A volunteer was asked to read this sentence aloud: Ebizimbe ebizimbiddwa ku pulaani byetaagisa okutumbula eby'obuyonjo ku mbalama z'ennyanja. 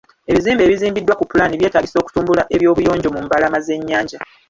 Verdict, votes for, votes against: rejected, 0, 2